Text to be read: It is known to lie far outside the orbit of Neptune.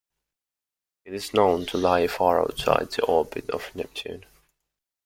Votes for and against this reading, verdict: 2, 0, accepted